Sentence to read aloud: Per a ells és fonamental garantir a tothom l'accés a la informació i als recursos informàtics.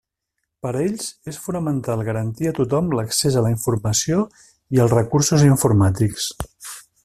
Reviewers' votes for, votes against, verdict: 3, 0, accepted